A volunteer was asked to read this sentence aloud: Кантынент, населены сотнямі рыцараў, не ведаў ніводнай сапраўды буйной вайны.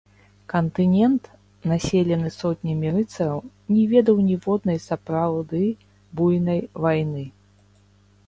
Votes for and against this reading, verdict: 1, 2, rejected